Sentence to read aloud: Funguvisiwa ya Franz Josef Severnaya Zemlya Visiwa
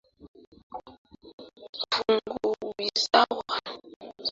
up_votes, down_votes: 0, 2